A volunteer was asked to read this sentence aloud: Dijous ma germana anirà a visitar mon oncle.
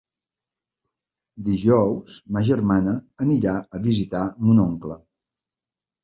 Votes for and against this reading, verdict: 3, 0, accepted